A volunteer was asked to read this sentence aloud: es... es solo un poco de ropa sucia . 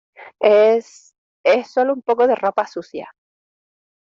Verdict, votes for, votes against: accepted, 2, 0